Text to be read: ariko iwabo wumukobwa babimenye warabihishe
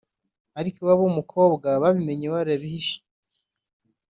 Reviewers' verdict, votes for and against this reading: accepted, 2, 0